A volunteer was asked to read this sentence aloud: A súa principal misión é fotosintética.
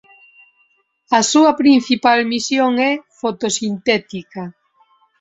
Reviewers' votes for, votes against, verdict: 2, 1, accepted